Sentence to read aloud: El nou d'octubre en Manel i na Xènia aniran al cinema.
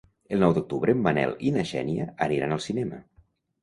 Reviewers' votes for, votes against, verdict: 2, 0, accepted